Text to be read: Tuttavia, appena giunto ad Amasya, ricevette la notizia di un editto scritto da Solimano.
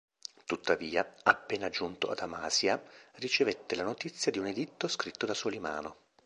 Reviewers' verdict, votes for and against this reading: accepted, 2, 0